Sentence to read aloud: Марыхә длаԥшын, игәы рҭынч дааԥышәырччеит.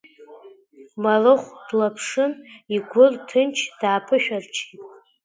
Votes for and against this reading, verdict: 1, 2, rejected